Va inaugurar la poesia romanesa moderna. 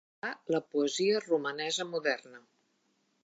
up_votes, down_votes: 0, 2